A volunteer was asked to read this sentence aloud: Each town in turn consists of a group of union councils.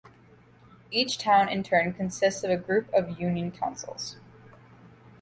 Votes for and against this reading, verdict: 2, 0, accepted